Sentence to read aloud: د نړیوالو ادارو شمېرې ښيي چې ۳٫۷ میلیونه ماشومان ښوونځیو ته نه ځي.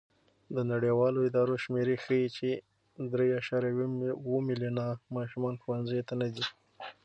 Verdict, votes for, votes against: rejected, 0, 2